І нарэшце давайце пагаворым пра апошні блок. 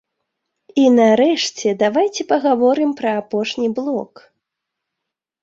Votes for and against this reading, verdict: 2, 0, accepted